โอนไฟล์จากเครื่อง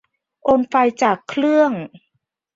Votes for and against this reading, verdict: 2, 0, accepted